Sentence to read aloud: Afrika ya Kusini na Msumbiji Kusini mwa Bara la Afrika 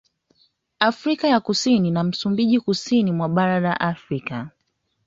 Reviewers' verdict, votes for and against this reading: accepted, 2, 0